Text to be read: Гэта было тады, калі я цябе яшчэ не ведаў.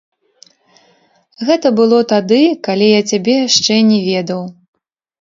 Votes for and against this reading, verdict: 1, 2, rejected